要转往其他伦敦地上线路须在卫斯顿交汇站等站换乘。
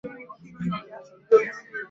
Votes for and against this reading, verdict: 2, 1, accepted